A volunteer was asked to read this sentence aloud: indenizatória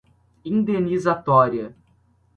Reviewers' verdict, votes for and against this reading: accepted, 2, 0